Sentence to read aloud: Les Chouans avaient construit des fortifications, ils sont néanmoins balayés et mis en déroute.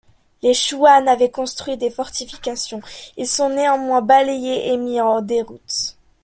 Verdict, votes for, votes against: rejected, 0, 2